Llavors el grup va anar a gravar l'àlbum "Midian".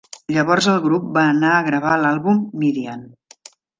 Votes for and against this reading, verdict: 2, 0, accepted